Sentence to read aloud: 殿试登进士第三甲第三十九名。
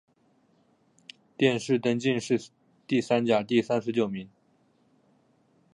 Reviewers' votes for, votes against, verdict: 5, 0, accepted